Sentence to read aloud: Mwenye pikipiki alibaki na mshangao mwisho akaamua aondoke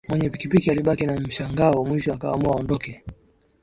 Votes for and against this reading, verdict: 2, 1, accepted